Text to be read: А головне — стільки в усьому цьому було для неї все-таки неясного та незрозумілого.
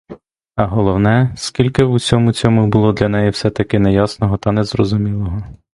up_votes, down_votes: 1, 2